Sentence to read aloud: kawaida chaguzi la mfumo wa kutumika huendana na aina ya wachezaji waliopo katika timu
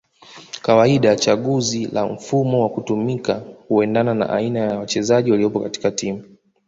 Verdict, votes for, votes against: accepted, 2, 0